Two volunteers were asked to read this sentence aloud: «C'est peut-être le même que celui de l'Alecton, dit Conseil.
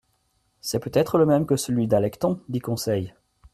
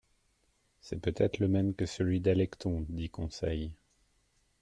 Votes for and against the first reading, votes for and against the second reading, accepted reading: 1, 2, 2, 0, second